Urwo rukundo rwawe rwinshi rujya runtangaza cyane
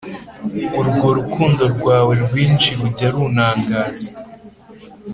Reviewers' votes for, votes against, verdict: 4, 3, accepted